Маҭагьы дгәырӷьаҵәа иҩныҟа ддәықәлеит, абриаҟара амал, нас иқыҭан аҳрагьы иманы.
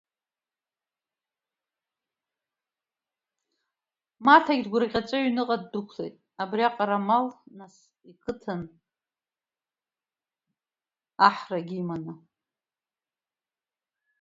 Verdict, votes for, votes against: rejected, 1, 2